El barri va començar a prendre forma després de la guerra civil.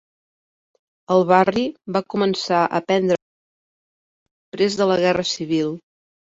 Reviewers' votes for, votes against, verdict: 0, 2, rejected